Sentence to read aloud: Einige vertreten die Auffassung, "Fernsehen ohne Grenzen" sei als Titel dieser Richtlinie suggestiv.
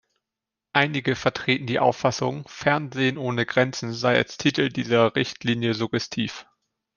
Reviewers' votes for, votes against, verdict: 2, 0, accepted